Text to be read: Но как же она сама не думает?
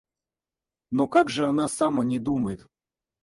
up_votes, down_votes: 0, 4